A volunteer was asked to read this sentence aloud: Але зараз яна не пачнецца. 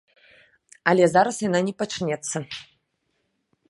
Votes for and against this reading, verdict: 2, 0, accepted